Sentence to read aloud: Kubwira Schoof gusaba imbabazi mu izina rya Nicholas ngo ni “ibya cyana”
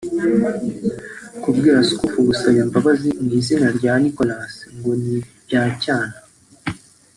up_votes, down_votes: 2, 0